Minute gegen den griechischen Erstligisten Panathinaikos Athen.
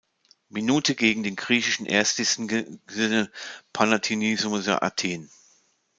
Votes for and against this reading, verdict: 0, 2, rejected